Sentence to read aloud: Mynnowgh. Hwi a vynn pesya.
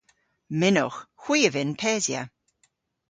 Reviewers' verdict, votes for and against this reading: accepted, 2, 0